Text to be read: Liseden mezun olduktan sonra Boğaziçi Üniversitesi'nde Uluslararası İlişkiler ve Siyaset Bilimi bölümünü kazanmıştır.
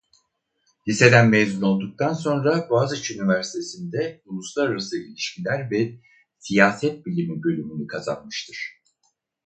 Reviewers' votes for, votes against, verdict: 2, 0, accepted